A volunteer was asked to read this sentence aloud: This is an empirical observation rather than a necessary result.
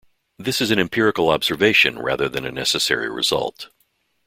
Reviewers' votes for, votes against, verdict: 2, 0, accepted